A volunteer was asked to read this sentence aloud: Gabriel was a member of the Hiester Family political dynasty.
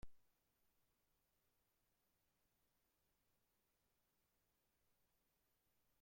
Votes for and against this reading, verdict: 0, 2, rejected